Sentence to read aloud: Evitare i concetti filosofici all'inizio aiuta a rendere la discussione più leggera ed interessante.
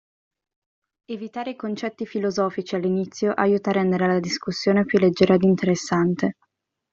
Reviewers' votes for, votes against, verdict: 2, 0, accepted